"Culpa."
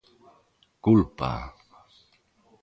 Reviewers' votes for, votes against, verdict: 2, 0, accepted